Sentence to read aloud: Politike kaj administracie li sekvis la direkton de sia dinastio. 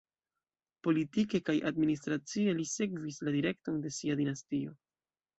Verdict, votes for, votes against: accepted, 2, 0